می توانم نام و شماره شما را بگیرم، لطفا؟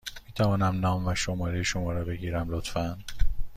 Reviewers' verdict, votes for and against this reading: accepted, 2, 0